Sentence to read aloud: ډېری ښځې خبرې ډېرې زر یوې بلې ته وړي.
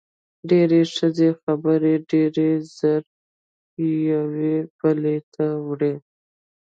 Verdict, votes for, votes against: accepted, 2, 0